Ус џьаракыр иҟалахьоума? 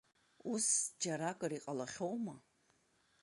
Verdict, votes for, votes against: accepted, 2, 0